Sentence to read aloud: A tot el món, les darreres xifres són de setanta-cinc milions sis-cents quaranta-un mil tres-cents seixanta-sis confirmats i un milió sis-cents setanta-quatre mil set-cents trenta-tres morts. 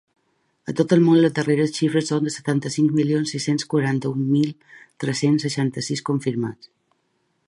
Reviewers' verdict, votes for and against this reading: rejected, 1, 2